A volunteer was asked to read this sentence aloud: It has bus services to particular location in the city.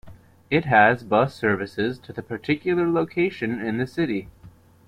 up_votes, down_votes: 1, 2